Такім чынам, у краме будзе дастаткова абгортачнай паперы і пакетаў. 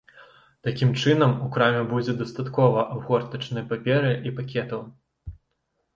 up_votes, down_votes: 2, 0